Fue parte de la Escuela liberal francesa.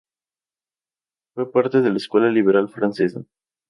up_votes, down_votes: 0, 2